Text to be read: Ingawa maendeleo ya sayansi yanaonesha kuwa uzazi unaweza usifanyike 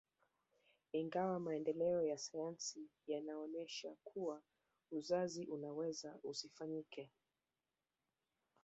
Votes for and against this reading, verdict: 1, 2, rejected